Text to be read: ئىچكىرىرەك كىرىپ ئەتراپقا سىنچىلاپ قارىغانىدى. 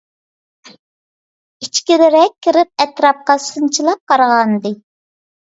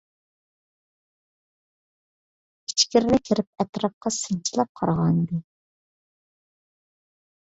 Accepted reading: first